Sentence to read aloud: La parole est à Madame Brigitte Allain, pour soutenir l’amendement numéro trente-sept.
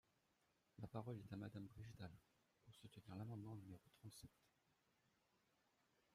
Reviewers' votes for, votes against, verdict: 0, 2, rejected